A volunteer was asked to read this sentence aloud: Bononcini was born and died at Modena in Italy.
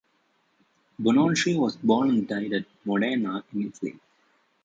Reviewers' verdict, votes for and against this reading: rejected, 1, 2